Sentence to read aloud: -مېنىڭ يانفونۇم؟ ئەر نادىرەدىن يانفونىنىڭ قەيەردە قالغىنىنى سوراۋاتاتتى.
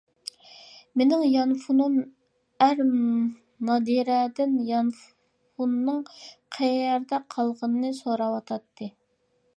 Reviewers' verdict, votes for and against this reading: accepted, 3, 1